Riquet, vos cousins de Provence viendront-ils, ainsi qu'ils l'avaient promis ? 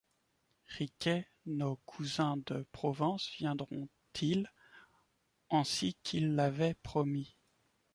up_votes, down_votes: 0, 2